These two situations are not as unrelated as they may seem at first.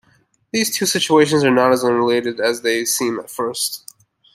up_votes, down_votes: 1, 2